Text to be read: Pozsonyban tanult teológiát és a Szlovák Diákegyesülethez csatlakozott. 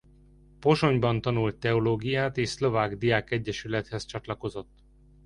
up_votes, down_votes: 0, 2